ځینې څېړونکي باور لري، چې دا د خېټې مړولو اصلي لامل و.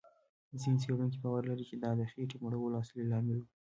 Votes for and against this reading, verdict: 1, 2, rejected